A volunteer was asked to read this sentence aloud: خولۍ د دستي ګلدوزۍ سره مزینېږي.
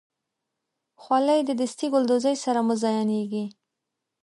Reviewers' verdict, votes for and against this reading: accepted, 2, 0